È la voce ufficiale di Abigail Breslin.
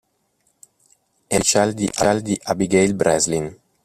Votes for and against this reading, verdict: 0, 2, rejected